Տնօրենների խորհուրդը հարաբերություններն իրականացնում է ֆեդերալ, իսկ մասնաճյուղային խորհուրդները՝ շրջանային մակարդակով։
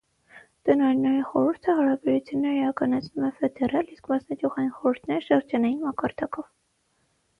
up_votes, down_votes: 3, 3